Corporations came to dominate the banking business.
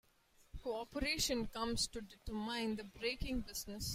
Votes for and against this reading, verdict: 0, 2, rejected